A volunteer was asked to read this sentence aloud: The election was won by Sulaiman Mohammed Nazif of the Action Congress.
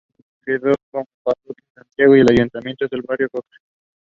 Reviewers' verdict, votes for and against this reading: rejected, 0, 2